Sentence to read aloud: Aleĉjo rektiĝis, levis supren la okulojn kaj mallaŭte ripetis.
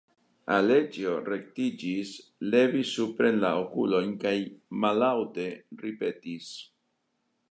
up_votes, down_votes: 2, 0